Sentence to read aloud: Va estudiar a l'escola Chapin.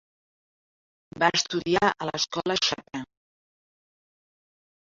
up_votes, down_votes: 2, 3